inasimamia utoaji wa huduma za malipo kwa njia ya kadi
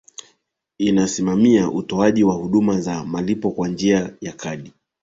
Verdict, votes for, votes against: accepted, 2, 0